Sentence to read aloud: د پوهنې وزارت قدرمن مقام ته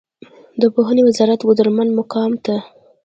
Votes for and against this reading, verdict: 2, 1, accepted